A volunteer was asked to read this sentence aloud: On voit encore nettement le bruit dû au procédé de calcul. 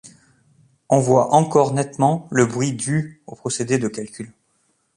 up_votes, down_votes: 2, 0